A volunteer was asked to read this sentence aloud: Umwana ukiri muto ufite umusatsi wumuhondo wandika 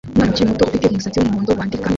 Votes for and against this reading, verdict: 1, 2, rejected